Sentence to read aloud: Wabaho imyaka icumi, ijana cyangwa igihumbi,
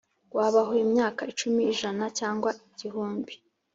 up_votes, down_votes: 3, 0